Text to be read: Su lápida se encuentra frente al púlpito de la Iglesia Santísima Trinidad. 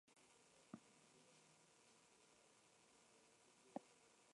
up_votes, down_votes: 1, 2